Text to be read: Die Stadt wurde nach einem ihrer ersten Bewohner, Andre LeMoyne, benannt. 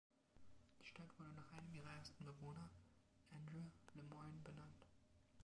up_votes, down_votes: 1, 2